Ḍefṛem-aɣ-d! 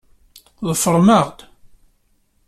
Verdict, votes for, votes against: accepted, 2, 0